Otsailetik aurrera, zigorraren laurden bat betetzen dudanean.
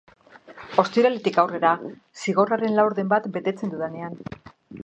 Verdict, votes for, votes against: rejected, 0, 2